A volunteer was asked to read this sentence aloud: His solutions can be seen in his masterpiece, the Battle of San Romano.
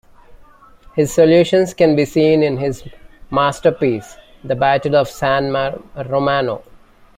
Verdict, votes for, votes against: accepted, 2, 1